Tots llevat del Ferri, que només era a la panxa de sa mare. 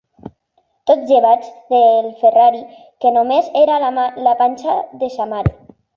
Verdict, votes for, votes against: rejected, 0, 2